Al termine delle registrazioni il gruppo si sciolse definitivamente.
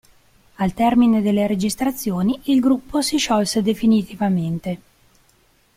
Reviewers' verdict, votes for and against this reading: accepted, 2, 0